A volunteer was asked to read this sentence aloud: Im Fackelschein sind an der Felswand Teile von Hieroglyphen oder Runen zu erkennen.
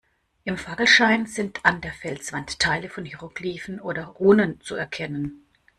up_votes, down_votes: 1, 2